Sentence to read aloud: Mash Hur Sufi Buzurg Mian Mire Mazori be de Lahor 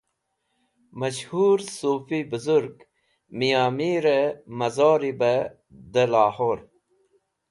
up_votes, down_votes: 2, 0